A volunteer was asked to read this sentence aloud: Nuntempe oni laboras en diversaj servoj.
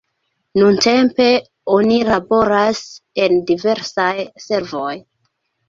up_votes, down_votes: 1, 2